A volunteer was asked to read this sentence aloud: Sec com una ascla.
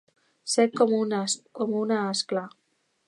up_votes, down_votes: 0, 2